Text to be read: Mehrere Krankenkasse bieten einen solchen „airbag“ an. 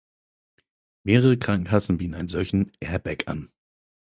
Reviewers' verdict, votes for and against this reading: accepted, 4, 0